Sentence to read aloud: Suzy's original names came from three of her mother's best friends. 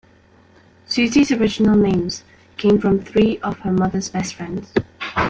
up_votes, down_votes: 2, 1